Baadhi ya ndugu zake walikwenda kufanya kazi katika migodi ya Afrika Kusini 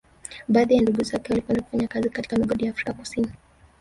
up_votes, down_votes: 3, 4